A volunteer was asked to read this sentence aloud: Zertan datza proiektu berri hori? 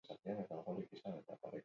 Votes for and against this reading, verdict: 2, 2, rejected